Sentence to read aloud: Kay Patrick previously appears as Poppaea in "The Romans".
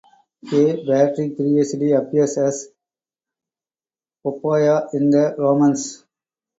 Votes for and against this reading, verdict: 0, 2, rejected